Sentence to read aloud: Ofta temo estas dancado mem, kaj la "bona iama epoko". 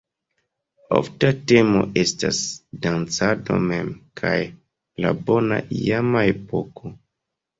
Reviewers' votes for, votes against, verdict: 0, 2, rejected